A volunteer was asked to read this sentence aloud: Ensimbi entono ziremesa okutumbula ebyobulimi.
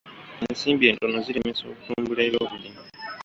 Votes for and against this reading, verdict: 1, 2, rejected